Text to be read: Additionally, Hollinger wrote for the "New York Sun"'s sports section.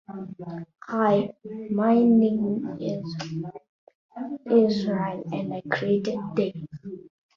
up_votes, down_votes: 0, 2